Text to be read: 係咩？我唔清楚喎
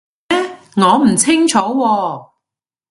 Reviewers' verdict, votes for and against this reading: rejected, 0, 2